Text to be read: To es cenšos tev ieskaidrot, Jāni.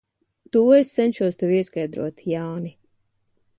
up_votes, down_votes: 2, 0